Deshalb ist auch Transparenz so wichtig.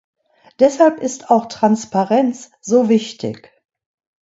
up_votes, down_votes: 1, 2